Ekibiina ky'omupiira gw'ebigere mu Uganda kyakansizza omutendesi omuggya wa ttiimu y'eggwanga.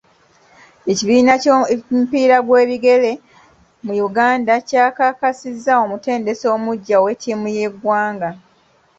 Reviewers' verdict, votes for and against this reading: rejected, 0, 2